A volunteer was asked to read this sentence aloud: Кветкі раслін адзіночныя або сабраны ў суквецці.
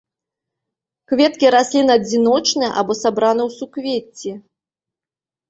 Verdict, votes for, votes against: accepted, 2, 0